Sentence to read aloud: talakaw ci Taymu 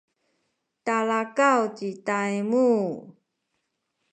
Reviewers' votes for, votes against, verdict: 1, 2, rejected